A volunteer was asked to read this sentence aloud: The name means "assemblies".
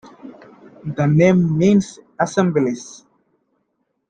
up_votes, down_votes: 2, 1